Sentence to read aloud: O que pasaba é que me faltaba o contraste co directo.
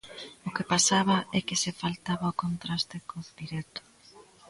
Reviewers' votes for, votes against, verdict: 0, 2, rejected